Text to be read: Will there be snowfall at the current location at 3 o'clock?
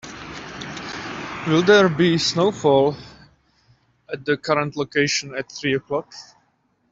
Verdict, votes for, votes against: rejected, 0, 2